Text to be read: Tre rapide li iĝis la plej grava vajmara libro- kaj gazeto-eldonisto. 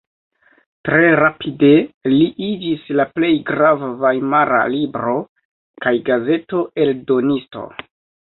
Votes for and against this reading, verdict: 2, 0, accepted